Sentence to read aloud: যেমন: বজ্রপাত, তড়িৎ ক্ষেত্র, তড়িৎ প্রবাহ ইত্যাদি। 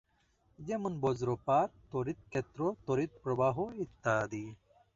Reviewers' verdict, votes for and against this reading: rejected, 0, 2